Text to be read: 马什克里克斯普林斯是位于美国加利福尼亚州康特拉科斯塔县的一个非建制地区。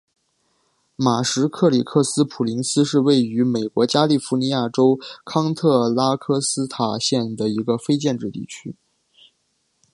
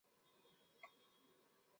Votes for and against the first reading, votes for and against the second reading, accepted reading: 4, 0, 0, 3, first